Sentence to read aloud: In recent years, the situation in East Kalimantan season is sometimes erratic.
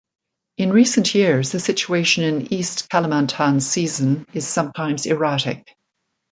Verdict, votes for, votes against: accepted, 2, 0